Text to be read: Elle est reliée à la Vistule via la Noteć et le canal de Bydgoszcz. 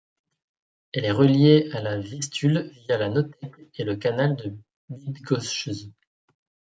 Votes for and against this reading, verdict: 1, 2, rejected